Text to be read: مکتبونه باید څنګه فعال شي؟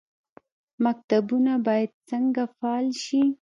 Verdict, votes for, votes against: rejected, 0, 2